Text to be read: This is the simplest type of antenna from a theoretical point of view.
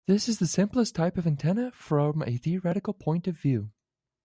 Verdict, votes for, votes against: accepted, 2, 1